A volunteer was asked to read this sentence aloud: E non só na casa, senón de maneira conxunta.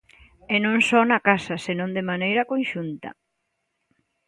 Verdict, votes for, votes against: accepted, 2, 0